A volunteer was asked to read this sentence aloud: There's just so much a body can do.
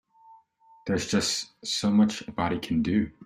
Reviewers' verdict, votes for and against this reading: accepted, 2, 0